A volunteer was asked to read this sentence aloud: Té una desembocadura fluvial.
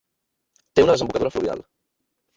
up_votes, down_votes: 1, 2